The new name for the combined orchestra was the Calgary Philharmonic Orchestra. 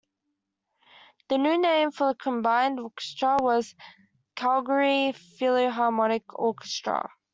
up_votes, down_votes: 0, 2